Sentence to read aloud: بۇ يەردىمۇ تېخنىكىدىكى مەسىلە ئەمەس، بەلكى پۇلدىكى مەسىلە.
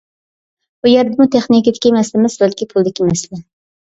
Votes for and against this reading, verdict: 2, 0, accepted